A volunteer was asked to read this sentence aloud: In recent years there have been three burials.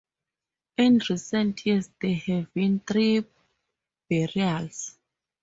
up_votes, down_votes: 2, 2